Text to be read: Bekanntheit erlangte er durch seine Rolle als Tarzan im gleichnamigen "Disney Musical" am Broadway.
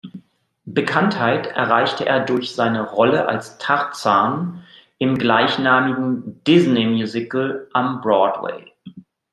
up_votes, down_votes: 1, 2